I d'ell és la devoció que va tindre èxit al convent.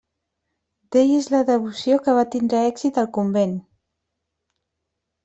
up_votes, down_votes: 1, 2